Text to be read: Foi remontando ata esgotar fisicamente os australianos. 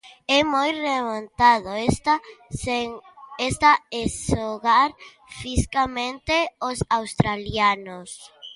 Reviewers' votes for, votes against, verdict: 0, 2, rejected